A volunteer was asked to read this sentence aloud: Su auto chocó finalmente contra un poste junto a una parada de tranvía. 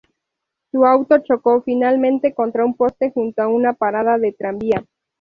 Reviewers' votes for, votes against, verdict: 2, 0, accepted